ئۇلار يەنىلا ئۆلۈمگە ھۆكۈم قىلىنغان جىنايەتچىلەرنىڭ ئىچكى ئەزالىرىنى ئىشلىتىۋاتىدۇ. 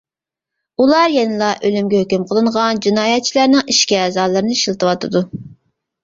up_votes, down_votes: 2, 1